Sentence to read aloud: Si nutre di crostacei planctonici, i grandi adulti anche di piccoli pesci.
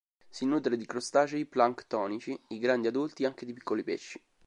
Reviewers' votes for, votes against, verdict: 2, 0, accepted